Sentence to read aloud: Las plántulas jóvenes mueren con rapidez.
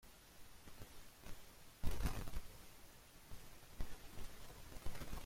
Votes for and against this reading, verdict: 0, 2, rejected